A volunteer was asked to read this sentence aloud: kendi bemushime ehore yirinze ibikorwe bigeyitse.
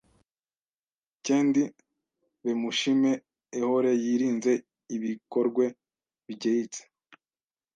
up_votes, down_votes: 1, 2